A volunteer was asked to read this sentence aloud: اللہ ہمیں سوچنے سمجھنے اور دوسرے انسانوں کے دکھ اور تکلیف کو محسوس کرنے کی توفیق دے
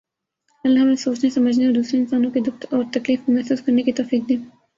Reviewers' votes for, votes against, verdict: 0, 2, rejected